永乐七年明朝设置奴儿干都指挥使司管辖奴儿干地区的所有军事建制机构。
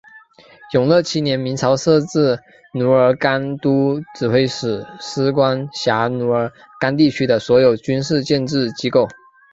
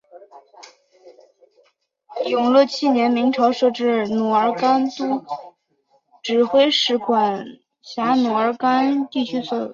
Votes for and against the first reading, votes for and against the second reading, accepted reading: 4, 0, 1, 2, first